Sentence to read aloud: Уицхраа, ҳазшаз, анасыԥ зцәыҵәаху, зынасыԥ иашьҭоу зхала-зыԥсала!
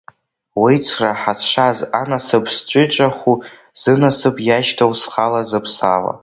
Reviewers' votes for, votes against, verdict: 0, 2, rejected